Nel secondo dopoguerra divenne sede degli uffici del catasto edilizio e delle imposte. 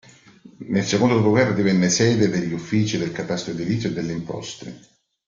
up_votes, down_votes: 2, 0